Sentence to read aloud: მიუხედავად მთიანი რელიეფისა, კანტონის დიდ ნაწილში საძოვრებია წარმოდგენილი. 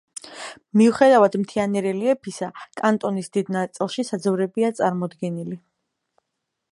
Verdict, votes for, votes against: accepted, 2, 0